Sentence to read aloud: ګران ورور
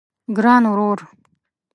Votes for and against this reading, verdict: 2, 0, accepted